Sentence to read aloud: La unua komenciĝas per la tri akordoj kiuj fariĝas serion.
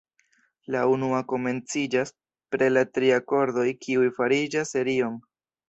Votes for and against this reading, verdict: 2, 0, accepted